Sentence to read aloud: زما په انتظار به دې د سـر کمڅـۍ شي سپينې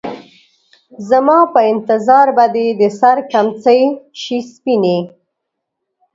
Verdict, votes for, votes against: accepted, 2, 0